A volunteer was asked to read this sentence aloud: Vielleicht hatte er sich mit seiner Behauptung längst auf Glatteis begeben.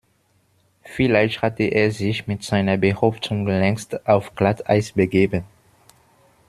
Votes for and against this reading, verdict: 2, 1, accepted